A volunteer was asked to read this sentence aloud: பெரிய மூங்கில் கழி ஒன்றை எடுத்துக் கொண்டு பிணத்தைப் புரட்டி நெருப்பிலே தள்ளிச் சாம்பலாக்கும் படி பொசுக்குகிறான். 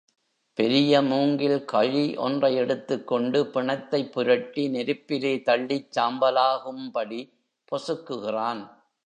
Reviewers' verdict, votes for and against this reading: accepted, 2, 0